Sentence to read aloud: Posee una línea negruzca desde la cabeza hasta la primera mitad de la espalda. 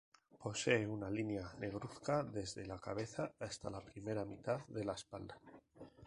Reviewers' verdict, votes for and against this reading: rejected, 0, 2